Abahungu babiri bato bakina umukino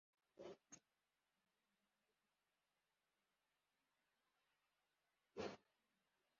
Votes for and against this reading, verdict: 0, 2, rejected